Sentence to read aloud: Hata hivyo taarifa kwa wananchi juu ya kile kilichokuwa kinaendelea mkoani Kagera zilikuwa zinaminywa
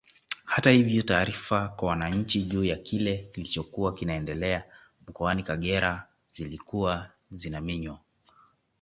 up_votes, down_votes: 2, 0